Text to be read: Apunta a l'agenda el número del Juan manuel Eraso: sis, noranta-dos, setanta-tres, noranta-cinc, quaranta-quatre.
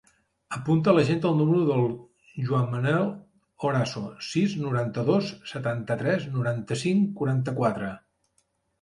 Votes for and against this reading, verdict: 0, 2, rejected